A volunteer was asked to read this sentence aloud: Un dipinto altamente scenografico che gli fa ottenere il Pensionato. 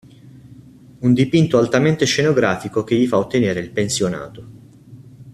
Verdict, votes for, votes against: accepted, 2, 0